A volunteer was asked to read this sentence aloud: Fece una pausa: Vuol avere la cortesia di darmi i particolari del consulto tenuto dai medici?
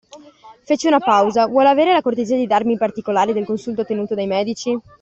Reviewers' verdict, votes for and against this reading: accepted, 2, 0